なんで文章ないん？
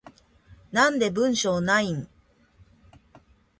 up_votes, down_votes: 2, 0